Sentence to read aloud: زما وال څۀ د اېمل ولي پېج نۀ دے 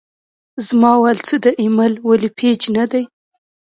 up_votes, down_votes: 0, 2